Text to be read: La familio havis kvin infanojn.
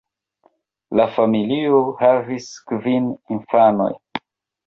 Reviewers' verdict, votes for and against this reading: rejected, 0, 2